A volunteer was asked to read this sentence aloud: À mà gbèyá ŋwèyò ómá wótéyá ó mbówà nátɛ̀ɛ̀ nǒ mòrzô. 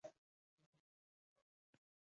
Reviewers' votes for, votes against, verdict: 0, 2, rejected